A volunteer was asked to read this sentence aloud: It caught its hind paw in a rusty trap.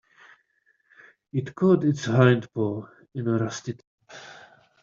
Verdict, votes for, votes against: rejected, 0, 2